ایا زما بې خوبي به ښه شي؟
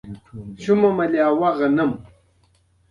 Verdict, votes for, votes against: rejected, 0, 2